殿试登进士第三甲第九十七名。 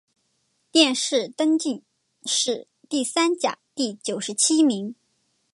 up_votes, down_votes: 4, 1